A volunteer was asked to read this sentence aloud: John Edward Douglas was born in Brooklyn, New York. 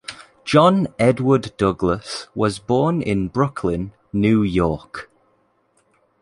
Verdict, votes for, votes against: accepted, 2, 0